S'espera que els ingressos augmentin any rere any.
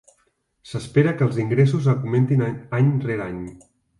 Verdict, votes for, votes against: rejected, 0, 2